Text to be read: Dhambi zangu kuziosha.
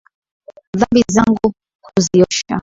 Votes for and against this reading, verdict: 3, 0, accepted